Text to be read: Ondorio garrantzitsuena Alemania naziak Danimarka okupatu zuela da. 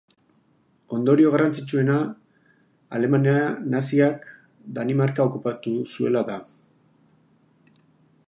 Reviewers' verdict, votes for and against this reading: rejected, 0, 4